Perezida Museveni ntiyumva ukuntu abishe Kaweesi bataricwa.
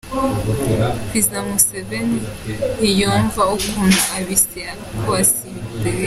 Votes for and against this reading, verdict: 0, 2, rejected